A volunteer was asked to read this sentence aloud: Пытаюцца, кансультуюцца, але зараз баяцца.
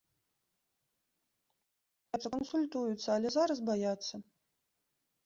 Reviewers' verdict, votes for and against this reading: rejected, 0, 2